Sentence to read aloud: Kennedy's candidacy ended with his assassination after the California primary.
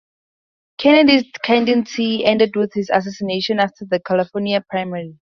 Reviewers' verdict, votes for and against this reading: rejected, 0, 2